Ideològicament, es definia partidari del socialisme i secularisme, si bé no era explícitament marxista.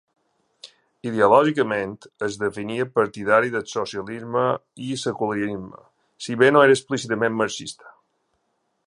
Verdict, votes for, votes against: rejected, 0, 2